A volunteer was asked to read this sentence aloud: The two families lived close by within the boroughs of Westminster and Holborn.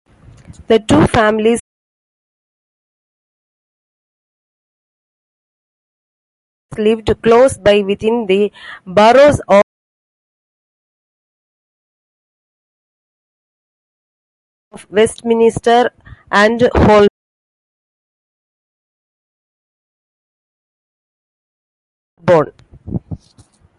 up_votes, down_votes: 0, 2